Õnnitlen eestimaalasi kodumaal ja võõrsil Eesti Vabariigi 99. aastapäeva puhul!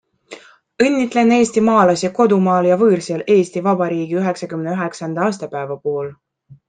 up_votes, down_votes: 0, 2